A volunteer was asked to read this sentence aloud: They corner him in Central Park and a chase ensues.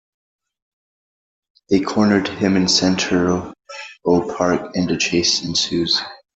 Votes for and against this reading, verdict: 0, 2, rejected